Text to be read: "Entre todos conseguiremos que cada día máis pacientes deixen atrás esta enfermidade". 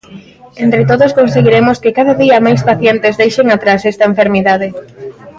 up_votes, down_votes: 1, 2